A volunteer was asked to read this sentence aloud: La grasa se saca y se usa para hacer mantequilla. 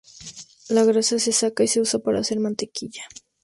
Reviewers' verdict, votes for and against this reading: accepted, 2, 0